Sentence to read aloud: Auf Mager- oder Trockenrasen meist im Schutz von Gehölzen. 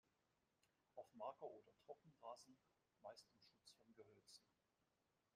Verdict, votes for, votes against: rejected, 0, 2